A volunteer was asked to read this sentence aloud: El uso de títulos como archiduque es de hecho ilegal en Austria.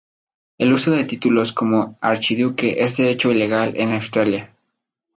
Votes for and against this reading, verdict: 0, 2, rejected